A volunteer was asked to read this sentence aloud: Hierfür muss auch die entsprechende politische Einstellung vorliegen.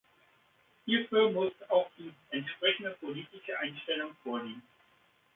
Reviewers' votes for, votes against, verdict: 2, 1, accepted